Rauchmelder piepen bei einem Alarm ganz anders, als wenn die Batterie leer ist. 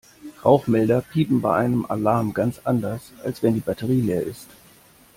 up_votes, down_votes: 2, 0